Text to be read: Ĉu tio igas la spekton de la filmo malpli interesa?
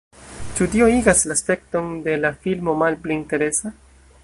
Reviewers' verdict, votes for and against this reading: accepted, 2, 0